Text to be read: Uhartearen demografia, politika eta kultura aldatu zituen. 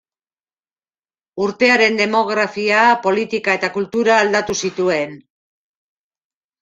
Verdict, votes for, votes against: rejected, 1, 2